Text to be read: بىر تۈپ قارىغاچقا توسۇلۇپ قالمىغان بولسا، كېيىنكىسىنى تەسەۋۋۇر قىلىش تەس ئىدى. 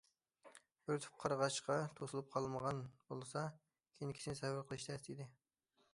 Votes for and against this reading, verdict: 1, 2, rejected